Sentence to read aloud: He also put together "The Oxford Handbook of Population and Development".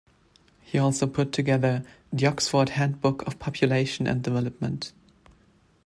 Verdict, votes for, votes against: accepted, 2, 0